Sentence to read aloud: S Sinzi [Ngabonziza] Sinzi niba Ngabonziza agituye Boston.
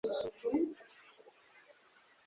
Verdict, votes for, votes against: rejected, 1, 2